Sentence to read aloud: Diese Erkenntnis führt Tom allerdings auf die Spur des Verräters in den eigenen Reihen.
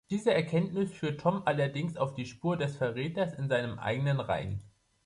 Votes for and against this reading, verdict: 1, 2, rejected